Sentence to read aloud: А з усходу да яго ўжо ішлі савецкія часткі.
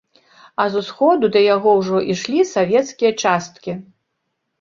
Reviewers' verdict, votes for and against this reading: accepted, 2, 0